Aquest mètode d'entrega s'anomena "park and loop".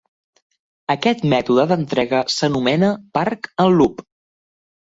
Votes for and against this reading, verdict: 2, 0, accepted